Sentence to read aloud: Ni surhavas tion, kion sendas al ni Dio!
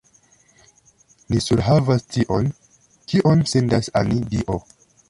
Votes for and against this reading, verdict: 1, 2, rejected